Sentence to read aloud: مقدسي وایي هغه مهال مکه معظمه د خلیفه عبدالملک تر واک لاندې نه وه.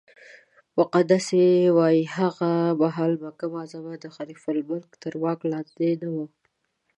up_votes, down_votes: 1, 2